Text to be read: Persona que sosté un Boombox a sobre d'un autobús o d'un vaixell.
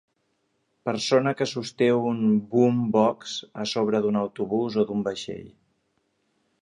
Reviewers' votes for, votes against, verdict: 4, 0, accepted